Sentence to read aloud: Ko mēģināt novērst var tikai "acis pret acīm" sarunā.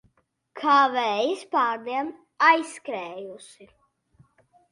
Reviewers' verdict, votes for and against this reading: rejected, 0, 2